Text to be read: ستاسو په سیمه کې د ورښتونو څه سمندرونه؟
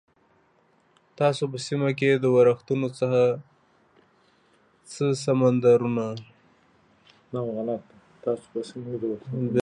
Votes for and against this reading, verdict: 0, 3, rejected